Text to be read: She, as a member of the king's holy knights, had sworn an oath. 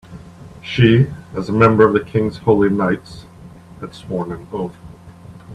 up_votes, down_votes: 2, 0